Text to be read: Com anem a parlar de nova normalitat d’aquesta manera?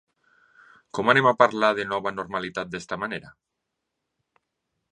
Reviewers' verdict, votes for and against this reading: rejected, 0, 2